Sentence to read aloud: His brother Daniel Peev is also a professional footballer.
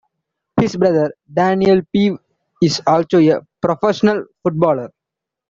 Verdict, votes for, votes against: rejected, 2, 3